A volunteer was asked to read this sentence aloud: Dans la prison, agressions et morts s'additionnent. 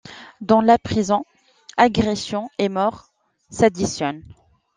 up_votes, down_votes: 2, 0